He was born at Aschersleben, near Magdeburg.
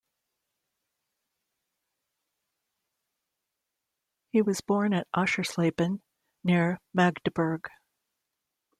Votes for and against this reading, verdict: 2, 0, accepted